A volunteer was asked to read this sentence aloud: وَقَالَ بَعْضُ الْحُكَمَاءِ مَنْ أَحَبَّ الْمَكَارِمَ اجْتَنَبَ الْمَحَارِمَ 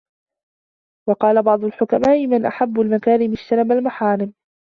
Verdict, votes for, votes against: rejected, 1, 2